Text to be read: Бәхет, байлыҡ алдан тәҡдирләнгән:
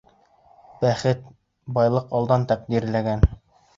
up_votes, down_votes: 1, 2